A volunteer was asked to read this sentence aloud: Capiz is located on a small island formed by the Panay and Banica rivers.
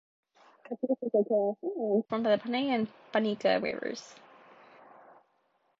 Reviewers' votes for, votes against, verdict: 0, 2, rejected